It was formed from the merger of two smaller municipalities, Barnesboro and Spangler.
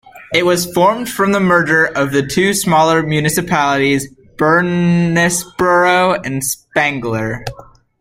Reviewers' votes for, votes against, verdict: 1, 2, rejected